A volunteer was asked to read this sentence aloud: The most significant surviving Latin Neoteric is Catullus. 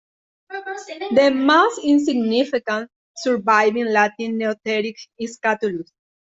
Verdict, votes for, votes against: rejected, 0, 2